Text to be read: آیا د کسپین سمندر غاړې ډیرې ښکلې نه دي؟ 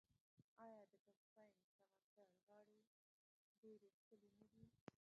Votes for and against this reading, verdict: 0, 2, rejected